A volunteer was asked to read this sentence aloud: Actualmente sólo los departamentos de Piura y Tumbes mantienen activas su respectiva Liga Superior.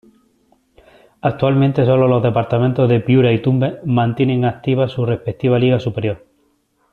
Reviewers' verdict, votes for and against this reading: accepted, 2, 0